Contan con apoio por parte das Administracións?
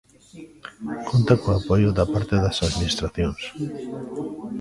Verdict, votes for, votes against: rejected, 0, 2